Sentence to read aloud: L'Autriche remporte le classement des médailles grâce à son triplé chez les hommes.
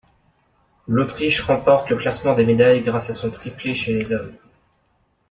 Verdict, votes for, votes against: accepted, 2, 0